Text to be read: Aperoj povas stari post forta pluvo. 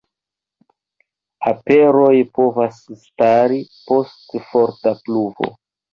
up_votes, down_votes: 1, 2